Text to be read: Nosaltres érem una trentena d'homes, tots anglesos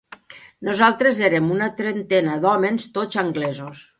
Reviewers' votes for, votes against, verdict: 1, 2, rejected